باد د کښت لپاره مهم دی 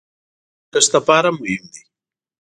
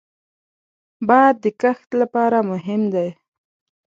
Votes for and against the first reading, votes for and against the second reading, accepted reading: 1, 2, 2, 0, second